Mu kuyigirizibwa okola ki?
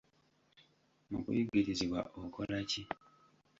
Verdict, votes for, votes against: rejected, 0, 2